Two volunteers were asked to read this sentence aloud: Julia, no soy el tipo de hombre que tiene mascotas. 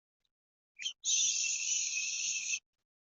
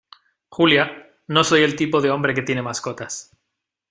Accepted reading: second